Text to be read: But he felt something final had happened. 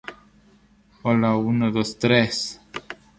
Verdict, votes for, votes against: rejected, 0, 2